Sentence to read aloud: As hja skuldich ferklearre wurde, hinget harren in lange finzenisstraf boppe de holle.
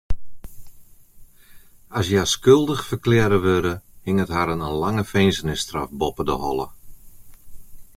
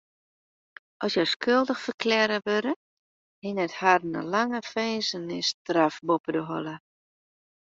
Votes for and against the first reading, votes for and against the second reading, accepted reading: 0, 2, 2, 0, second